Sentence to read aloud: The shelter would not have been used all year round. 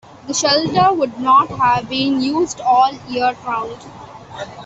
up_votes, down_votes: 2, 0